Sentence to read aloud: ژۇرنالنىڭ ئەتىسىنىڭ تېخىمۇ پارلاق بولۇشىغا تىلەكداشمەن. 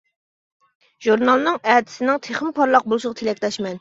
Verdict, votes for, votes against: accepted, 2, 0